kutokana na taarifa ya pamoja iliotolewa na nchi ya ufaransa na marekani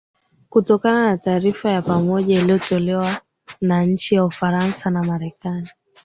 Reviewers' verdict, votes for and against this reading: accepted, 2, 1